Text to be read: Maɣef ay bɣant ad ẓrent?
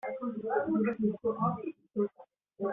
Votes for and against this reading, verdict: 0, 2, rejected